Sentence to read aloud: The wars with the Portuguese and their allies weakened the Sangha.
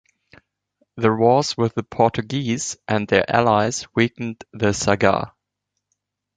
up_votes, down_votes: 1, 3